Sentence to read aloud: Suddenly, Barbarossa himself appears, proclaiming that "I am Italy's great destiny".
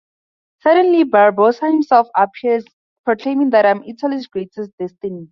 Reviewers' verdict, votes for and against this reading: rejected, 2, 2